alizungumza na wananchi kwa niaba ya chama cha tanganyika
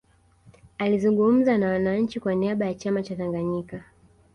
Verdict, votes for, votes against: accepted, 2, 0